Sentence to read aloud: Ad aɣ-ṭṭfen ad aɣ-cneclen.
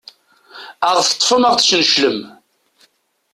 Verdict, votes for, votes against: rejected, 1, 2